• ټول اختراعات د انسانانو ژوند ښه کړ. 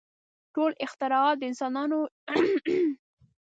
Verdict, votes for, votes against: rejected, 0, 2